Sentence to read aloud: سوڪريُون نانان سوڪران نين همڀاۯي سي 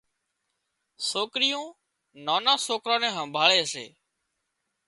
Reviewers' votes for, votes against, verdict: 3, 0, accepted